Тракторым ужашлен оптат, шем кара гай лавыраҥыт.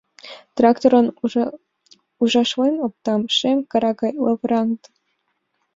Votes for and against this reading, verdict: 1, 2, rejected